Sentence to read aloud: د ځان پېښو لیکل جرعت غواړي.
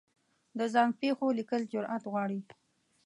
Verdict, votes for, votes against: rejected, 0, 2